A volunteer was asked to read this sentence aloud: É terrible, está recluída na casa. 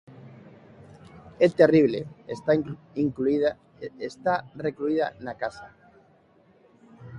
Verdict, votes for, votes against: rejected, 0, 2